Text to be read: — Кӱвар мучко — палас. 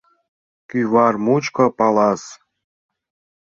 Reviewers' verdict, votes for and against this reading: accepted, 2, 0